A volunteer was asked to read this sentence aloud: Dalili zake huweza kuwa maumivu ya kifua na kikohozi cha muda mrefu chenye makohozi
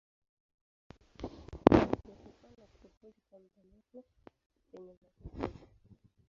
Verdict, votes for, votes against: rejected, 0, 2